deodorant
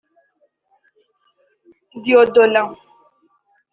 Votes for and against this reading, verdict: 1, 2, rejected